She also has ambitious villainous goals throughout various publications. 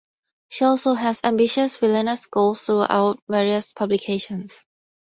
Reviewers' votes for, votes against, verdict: 4, 0, accepted